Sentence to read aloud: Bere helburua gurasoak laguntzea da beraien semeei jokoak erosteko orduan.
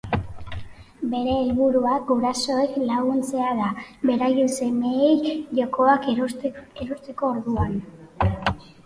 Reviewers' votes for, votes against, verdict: 1, 2, rejected